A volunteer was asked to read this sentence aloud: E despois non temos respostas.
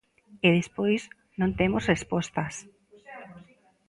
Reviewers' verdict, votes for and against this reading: rejected, 1, 2